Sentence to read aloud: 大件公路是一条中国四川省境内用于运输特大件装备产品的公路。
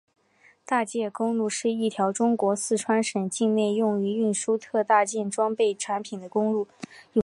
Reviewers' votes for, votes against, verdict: 2, 0, accepted